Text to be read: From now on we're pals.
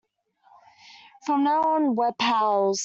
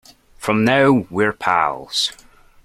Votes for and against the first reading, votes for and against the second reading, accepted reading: 2, 0, 1, 2, first